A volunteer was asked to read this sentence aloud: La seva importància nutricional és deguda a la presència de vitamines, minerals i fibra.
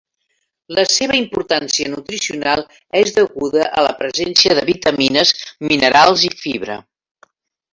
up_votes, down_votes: 3, 0